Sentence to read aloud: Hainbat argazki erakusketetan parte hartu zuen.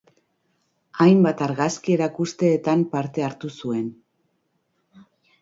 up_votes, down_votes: 0, 2